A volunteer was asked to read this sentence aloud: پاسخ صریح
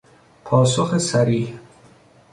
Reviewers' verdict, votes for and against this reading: accepted, 2, 0